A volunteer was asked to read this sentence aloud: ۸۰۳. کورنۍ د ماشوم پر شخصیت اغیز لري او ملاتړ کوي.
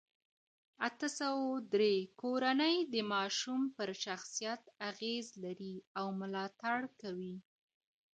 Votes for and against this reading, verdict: 0, 2, rejected